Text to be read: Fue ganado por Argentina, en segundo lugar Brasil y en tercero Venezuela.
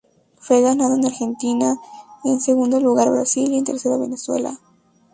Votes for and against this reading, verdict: 0, 2, rejected